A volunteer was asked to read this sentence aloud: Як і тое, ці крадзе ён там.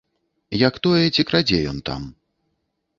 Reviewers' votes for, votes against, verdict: 0, 2, rejected